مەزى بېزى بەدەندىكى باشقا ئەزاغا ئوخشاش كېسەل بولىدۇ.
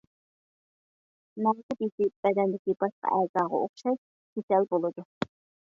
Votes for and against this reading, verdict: 1, 2, rejected